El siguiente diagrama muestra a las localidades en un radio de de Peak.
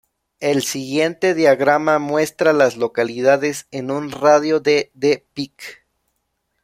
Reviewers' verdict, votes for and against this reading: rejected, 1, 2